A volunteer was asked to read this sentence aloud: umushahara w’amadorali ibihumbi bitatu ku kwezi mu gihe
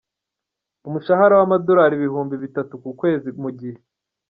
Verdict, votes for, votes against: accepted, 2, 0